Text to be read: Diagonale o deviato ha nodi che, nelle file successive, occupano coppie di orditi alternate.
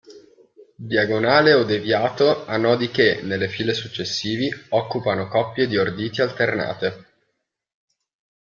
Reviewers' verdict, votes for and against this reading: rejected, 1, 2